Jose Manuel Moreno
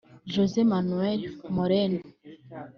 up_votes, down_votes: 1, 2